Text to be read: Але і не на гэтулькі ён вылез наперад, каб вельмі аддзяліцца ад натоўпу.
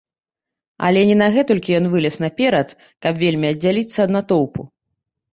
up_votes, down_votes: 0, 2